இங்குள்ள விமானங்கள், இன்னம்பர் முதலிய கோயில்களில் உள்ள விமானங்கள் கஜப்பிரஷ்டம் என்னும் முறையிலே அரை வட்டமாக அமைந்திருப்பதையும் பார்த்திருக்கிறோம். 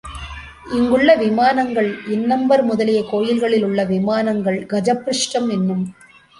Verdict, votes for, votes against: accepted, 2, 1